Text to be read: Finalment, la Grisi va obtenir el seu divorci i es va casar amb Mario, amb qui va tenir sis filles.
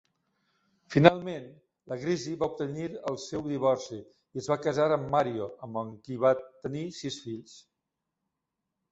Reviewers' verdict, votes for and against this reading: rejected, 0, 2